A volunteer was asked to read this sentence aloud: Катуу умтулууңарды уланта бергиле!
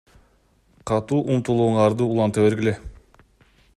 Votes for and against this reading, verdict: 2, 0, accepted